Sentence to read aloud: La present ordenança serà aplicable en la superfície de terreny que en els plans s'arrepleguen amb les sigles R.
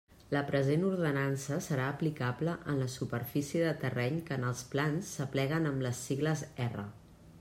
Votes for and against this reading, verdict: 0, 2, rejected